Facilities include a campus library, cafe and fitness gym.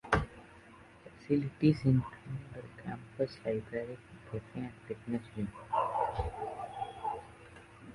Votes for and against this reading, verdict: 1, 2, rejected